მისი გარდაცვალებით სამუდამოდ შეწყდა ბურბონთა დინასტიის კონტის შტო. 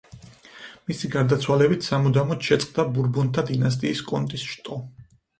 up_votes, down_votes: 4, 0